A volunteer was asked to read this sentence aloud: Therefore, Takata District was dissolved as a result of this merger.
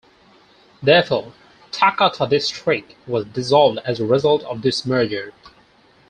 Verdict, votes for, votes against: accepted, 4, 2